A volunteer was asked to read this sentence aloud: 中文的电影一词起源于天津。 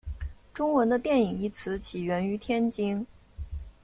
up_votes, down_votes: 2, 0